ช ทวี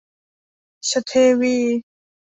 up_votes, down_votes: 1, 2